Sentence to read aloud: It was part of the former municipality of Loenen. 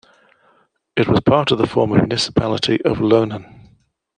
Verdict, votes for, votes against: accepted, 2, 0